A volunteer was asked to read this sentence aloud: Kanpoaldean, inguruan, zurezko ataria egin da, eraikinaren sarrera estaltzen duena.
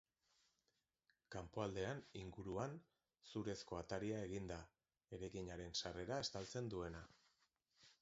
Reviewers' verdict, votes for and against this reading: rejected, 1, 2